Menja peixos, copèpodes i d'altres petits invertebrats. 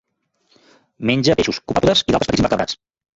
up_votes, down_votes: 0, 2